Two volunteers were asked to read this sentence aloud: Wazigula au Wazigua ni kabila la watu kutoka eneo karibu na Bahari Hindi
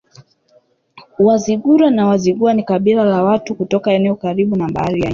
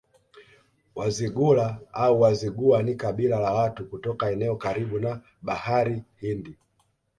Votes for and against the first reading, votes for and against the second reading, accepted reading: 1, 2, 2, 0, second